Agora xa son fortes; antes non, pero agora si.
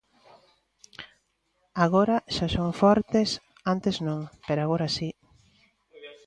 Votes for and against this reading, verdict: 1, 2, rejected